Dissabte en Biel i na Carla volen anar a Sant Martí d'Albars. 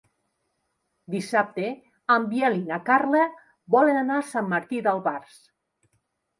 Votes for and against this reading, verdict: 2, 0, accepted